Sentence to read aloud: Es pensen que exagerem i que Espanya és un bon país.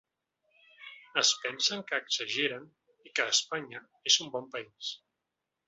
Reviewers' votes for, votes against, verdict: 0, 2, rejected